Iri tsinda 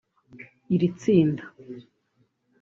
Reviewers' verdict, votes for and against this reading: rejected, 1, 2